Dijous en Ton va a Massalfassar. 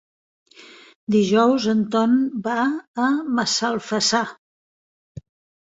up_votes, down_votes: 3, 1